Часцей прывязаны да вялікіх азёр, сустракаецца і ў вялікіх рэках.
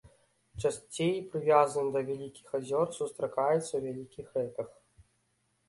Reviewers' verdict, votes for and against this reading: rejected, 1, 2